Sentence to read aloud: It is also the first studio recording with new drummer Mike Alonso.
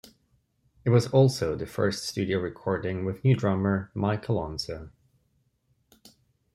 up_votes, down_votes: 3, 0